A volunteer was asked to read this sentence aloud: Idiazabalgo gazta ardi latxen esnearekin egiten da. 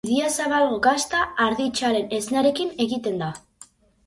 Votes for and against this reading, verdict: 2, 2, rejected